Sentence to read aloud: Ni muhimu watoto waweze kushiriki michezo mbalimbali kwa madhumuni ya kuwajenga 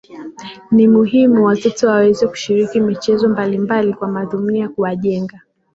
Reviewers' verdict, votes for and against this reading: accepted, 2, 1